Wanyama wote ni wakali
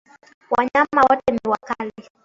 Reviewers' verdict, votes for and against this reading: rejected, 0, 2